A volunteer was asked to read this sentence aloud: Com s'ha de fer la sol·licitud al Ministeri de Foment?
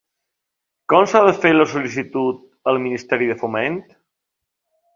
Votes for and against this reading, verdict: 3, 0, accepted